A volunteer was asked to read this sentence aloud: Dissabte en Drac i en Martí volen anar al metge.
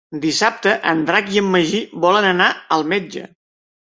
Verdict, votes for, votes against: rejected, 0, 2